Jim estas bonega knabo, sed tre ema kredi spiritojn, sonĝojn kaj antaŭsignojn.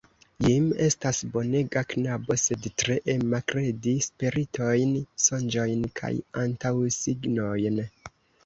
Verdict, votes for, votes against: rejected, 0, 2